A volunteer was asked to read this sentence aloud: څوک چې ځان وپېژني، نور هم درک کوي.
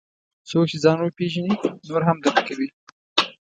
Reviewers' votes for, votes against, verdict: 2, 1, accepted